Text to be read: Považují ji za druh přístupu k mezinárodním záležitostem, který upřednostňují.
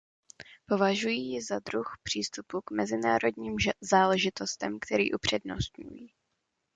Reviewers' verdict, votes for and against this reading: rejected, 0, 2